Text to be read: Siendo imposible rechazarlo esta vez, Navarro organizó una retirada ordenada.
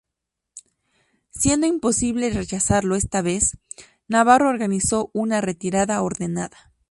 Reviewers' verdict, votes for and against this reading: accepted, 2, 0